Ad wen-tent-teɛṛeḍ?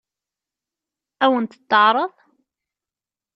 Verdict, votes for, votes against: rejected, 0, 2